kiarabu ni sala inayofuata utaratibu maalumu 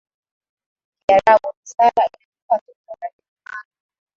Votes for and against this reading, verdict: 2, 2, rejected